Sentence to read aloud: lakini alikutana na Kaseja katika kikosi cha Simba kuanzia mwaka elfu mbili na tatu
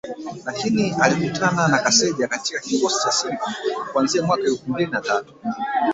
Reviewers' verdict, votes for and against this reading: rejected, 0, 4